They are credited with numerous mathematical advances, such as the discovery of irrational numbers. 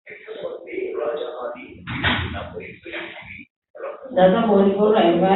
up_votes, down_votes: 0, 4